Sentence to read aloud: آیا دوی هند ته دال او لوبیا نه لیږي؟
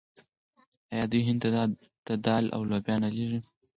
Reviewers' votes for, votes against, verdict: 0, 4, rejected